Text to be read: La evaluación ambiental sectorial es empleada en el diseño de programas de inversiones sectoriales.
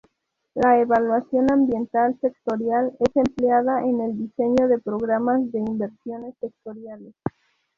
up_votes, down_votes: 0, 2